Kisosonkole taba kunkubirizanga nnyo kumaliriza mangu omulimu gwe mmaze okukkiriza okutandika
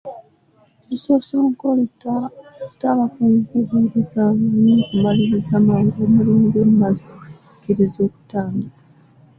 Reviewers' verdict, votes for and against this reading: rejected, 0, 2